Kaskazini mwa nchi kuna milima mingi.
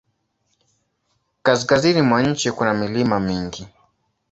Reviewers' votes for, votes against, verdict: 2, 0, accepted